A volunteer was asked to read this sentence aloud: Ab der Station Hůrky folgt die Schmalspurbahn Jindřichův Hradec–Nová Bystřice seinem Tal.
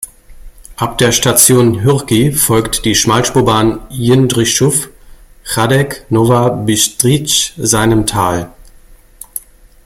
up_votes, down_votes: 1, 2